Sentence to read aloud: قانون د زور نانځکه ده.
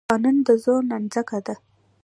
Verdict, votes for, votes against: accepted, 2, 1